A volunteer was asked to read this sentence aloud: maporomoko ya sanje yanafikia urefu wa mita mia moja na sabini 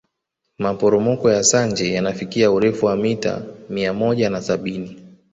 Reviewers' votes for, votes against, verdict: 0, 2, rejected